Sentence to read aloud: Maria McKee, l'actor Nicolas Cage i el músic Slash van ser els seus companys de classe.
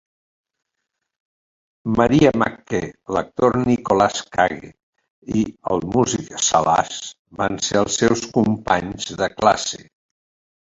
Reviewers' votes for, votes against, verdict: 0, 3, rejected